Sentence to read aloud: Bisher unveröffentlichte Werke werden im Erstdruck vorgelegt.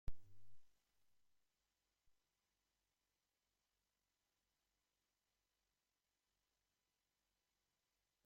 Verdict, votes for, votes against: rejected, 0, 2